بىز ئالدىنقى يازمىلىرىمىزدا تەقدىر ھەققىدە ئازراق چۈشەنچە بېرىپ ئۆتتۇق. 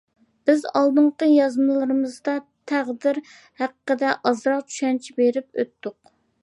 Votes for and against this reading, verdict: 2, 0, accepted